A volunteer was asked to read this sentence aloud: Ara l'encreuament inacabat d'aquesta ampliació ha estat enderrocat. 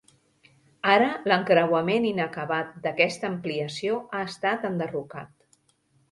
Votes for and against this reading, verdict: 2, 0, accepted